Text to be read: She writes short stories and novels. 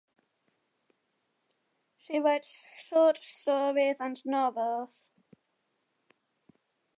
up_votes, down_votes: 2, 1